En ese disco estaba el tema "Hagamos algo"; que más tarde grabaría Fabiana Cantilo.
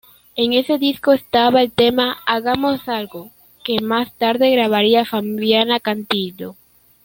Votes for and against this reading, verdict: 0, 2, rejected